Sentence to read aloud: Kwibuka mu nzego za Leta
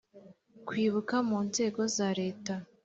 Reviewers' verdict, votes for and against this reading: accepted, 2, 0